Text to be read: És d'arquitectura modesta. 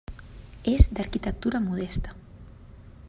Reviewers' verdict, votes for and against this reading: rejected, 1, 2